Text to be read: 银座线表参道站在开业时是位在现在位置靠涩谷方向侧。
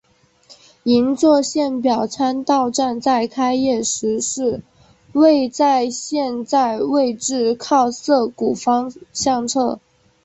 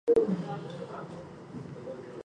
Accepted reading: first